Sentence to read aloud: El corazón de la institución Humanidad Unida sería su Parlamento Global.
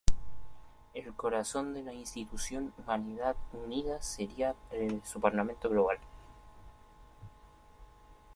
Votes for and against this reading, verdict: 1, 2, rejected